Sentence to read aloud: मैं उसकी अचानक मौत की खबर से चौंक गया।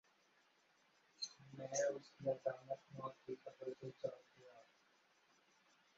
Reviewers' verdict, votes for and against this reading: rejected, 0, 2